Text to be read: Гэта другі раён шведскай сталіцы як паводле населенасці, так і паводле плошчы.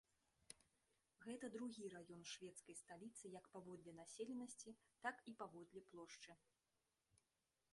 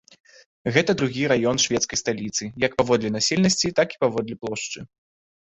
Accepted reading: second